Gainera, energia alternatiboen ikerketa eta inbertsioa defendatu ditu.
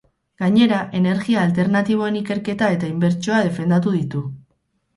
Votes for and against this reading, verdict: 2, 2, rejected